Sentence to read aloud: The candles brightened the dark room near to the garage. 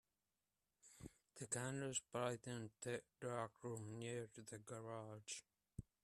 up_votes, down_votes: 0, 2